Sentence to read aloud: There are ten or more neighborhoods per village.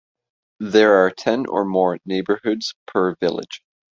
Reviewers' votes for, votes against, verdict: 2, 0, accepted